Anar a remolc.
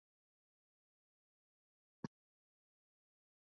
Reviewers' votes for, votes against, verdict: 0, 2, rejected